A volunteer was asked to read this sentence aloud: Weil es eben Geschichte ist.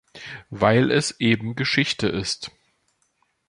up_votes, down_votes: 2, 0